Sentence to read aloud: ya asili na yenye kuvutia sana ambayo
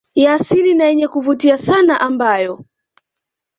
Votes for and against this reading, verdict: 2, 0, accepted